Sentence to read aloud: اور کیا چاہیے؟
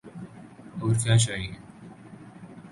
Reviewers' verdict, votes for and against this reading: accepted, 6, 0